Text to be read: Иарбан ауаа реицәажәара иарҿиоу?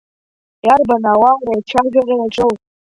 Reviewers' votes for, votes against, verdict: 0, 2, rejected